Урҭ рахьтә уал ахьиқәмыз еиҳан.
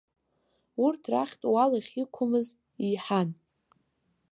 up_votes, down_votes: 2, 0